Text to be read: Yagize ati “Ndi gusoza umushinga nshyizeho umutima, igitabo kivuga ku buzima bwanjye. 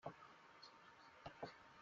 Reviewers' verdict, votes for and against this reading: rejected, 0, 2